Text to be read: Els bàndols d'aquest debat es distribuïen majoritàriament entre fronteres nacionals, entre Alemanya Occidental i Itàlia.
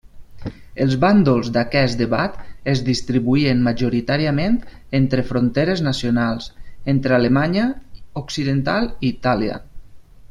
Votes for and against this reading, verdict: 4, 0, accepted